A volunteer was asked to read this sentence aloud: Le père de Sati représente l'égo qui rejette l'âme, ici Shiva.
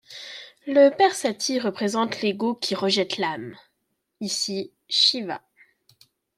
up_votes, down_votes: 1, 2